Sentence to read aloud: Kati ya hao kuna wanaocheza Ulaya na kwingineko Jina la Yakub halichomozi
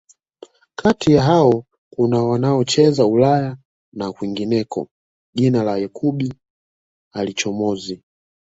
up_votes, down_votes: 2, 0